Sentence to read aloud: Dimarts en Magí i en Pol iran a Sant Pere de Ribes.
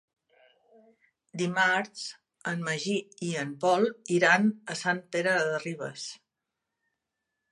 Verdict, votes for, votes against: accepted, 3, 0